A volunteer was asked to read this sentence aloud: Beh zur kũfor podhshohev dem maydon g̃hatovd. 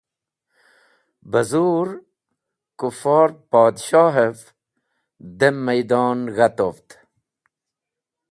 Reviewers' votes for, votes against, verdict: 2, 0, accepted